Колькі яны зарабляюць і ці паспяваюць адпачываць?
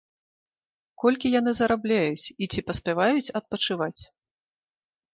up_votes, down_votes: 2, 0